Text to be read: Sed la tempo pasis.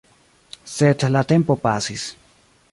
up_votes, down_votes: 2, 0